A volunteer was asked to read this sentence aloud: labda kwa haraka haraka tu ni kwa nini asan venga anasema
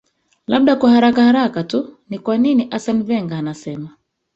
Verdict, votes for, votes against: rejected, 1, 2